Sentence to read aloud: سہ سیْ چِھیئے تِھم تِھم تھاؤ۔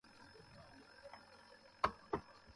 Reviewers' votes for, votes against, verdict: 0, 2, rejected